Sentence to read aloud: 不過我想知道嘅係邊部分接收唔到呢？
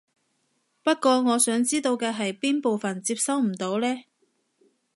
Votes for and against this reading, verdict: 2, 0, accepted